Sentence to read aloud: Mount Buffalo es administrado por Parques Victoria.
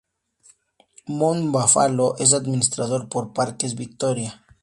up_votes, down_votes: 0, 4